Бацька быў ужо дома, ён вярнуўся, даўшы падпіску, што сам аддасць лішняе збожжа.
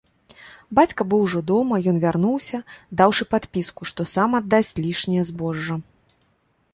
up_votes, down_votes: 2, 0